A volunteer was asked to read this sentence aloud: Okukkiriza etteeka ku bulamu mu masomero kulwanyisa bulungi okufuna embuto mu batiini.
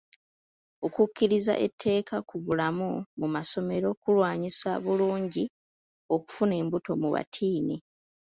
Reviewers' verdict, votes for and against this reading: accepted, 2, 1